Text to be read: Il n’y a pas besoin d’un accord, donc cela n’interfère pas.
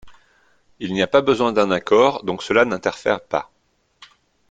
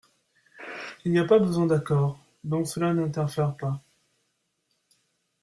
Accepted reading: first